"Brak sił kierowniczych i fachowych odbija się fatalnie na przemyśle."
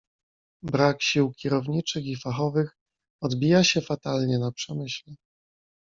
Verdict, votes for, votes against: accepted, 2, 0